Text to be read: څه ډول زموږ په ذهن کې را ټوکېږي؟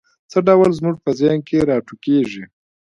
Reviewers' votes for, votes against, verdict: 3, 0, accepted